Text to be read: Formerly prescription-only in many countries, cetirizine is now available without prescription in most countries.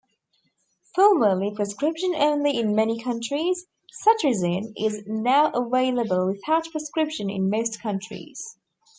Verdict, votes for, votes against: rejected, 1, 2